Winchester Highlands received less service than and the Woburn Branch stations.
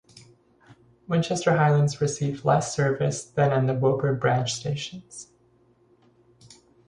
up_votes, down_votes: 0, 2